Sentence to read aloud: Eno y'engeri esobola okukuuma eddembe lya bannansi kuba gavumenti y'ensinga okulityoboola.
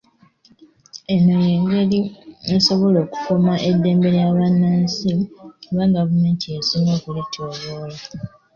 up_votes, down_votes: 2, 1